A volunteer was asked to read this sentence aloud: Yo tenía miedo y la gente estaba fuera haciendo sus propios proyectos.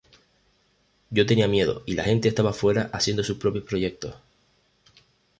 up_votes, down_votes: 0, 2